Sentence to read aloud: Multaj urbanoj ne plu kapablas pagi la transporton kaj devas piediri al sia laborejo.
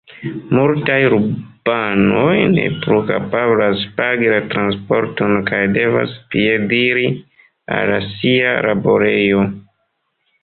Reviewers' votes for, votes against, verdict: 2, 1, accepted